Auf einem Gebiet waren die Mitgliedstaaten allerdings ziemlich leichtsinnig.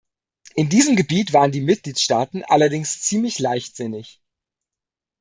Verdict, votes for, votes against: rejected, 1, 2